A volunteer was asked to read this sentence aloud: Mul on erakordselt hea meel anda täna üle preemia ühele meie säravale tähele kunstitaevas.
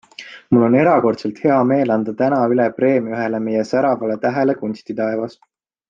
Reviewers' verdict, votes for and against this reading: accepted, 3, 0